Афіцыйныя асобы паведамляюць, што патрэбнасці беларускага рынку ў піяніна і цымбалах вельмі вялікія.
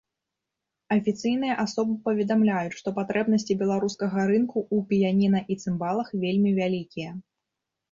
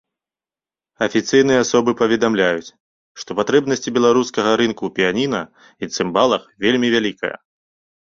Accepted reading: first